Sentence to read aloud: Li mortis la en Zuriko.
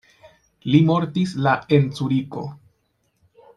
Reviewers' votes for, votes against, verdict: 0, 2, rejected